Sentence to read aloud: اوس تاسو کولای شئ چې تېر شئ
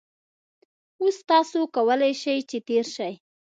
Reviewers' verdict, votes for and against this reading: accepted, 2, 0